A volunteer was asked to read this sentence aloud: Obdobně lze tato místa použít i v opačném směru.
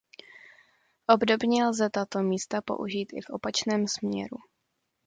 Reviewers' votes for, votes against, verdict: 2, 0, accepted